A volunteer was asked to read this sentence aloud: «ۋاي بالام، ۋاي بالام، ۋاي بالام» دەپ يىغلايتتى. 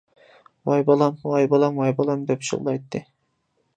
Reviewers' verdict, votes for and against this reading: accepted, 2, 0